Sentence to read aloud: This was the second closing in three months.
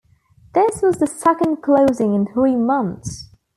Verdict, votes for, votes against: accepted, 2, 0